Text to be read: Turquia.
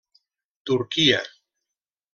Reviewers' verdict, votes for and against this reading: accepted, 3, 0